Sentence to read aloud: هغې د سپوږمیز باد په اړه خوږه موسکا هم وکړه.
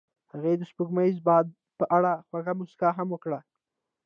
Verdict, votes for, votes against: rejected, 0, 2